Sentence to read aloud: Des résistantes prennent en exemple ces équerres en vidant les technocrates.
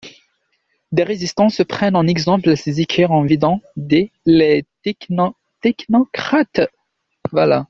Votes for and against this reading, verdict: 0, 2, rejected